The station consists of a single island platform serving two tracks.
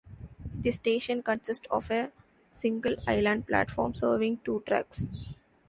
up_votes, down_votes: 1, 2